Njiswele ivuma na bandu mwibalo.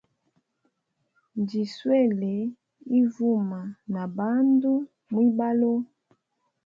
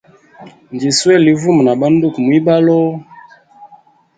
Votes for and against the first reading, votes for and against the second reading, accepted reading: 2, 0, 0, 2, first